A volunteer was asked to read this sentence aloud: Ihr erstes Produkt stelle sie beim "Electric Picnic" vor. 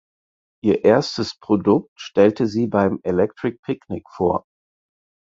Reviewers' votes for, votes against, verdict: 4, 0, accepted